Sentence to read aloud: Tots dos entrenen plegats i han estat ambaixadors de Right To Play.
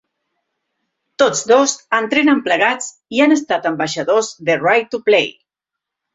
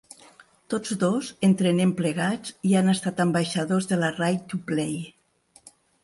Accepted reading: first